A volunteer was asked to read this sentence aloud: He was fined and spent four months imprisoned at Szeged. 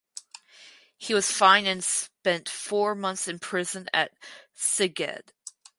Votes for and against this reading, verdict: 0, 2, rejected